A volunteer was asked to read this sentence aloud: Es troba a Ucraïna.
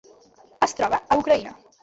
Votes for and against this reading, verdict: 2, 1, accepted